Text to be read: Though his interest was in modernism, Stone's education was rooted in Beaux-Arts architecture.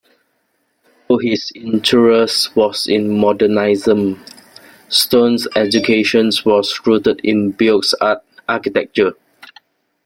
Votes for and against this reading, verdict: 0, 2, rejected